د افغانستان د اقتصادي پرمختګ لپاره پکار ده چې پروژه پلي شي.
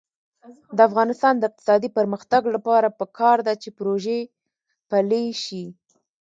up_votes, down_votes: 2, 0